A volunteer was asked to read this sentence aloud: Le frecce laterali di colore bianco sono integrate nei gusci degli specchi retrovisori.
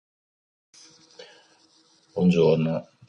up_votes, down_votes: 0, 2